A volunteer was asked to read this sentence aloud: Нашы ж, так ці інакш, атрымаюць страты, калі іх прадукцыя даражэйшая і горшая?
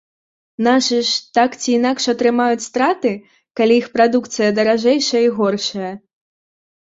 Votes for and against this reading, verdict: 3, 0, accepted